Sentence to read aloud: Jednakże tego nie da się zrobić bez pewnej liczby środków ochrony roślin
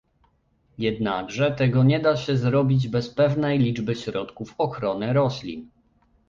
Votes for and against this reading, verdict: 2, 1, accepted